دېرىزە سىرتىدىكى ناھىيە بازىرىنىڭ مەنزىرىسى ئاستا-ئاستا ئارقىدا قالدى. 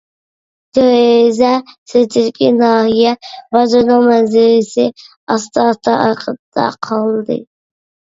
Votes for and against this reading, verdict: 0, 2, rejected